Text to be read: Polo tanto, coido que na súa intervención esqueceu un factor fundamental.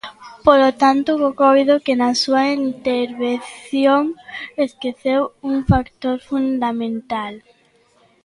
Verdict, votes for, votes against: rejected, 0, 2